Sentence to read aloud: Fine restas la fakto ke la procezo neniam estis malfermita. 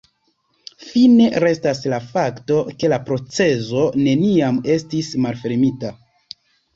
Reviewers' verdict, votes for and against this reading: accepted, 2, 0